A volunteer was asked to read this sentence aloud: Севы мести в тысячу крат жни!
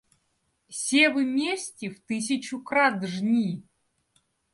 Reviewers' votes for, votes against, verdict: 2, 0, accepted